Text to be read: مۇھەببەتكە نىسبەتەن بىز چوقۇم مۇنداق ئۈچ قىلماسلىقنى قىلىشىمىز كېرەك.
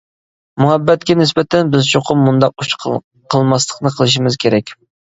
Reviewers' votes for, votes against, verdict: 1, 2, rejected